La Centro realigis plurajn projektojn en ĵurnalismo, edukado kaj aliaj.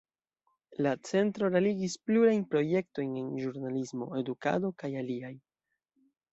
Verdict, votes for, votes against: rejected, 1, 2